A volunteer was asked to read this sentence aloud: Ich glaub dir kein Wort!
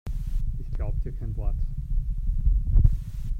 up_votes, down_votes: 0, 2